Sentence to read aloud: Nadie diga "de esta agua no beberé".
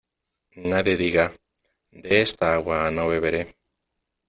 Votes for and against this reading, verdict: 2, 0, accepted